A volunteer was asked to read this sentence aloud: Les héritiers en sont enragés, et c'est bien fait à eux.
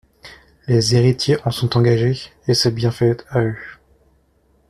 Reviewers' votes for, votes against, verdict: 0, 2, rejected